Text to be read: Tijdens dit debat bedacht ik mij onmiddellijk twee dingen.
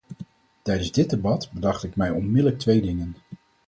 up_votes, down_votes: 4, 0